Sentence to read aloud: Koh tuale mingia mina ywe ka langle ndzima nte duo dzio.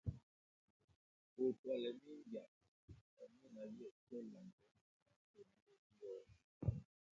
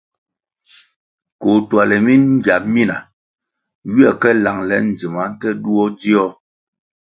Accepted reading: second